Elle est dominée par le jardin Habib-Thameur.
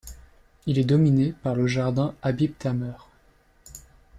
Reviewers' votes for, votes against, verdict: 2, 3, rejected